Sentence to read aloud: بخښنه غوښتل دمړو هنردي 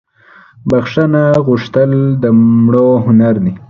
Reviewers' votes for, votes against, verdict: 2, 0, accepted